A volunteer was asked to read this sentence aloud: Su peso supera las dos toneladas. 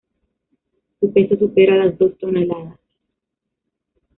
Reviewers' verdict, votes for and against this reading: accepted, 2, 1